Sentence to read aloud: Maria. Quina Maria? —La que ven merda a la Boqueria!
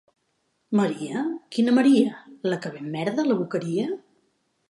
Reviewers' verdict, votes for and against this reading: rejected, 1, 2